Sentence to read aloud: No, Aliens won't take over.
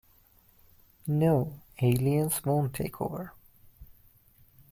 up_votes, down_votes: 2, 0